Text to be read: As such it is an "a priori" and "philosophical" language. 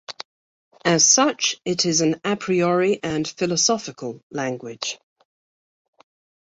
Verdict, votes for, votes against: accepted, 2, 0